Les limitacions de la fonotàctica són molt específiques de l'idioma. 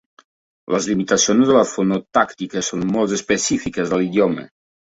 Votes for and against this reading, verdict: 2, 1, accepted